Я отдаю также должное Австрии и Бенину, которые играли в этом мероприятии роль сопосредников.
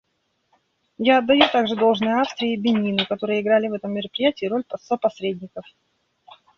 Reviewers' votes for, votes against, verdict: 0, 2, rejected